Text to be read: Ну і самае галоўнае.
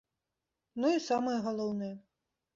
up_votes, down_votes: 2, 0